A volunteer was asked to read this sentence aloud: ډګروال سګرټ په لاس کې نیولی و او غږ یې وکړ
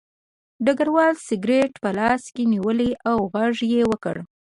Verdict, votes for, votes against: accepted, 2, 0